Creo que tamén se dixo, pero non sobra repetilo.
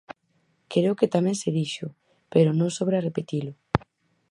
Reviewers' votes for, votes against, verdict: 4, 0, accepted